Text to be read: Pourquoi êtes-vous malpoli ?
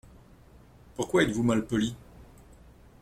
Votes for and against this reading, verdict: 2, 0, accepted